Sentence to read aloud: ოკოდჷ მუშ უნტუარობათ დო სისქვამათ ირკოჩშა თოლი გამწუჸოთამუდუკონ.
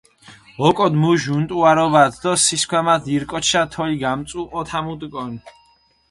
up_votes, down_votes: 4, 0